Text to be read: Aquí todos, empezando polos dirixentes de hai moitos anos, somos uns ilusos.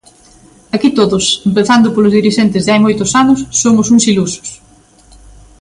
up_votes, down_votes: 3, 0